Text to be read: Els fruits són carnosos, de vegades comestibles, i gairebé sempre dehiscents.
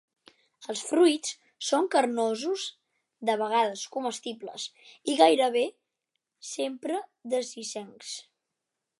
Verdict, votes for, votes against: rejected, 2, 3